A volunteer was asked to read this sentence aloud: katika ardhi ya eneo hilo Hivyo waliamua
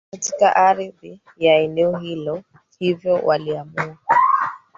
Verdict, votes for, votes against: rejected, 1, 3